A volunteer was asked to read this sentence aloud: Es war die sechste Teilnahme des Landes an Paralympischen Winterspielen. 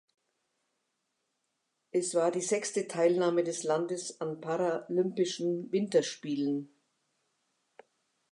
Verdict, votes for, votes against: accepted, 2, 0